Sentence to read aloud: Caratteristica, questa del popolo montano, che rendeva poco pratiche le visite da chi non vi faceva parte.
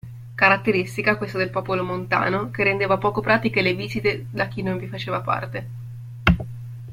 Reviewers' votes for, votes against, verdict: 2, 0, accepted